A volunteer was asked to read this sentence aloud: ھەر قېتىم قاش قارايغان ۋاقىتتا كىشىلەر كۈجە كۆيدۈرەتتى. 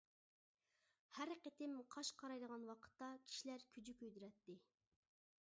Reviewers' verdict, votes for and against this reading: accepted, 2, 1